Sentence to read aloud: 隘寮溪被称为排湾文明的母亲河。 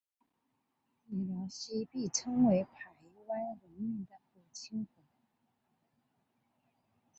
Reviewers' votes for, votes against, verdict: 1, 4, rejected